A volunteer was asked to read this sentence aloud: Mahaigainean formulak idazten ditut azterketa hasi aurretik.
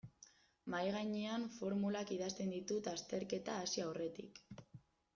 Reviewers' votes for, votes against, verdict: 0, 2, rejected